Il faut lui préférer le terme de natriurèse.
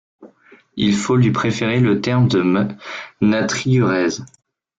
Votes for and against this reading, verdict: 1, 2, rejected